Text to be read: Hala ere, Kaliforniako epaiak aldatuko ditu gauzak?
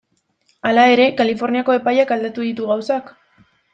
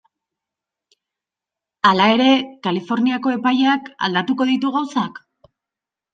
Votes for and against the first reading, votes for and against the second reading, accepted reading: 1, 2, 2, 0, second